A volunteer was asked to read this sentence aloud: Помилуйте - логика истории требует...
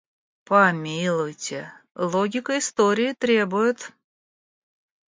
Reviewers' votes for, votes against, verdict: 2, 0, accepted